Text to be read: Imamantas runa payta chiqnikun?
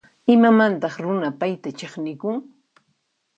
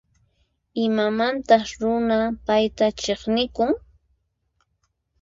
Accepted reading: second